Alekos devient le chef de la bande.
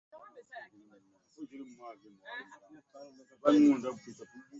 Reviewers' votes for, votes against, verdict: 0, 2, rejected